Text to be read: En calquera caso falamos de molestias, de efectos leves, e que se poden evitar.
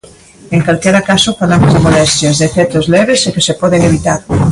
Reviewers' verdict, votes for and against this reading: accepted, 2, 0